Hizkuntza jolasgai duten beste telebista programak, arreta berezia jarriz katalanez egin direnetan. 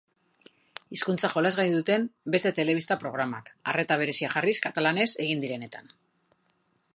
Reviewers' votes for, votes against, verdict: 3, 0, accepted